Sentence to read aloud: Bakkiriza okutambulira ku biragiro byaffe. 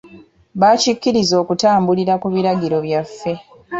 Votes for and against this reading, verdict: 1, 2, rejected